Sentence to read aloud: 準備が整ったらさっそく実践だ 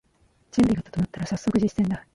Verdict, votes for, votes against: rejected, 1, 2